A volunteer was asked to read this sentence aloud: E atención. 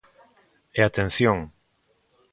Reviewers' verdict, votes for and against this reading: accepted, 2, 0